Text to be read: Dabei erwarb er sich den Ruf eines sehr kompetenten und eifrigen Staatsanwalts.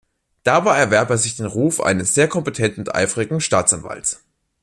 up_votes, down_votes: 2, 1